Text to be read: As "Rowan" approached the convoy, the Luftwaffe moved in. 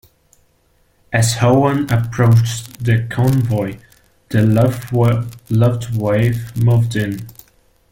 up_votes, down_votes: 0, 2